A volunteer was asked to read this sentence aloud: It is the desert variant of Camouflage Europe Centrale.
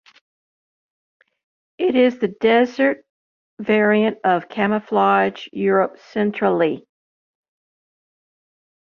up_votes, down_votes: 0, 2